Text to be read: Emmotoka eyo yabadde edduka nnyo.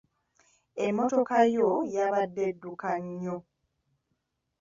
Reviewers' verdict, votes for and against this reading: rejected, 1, 2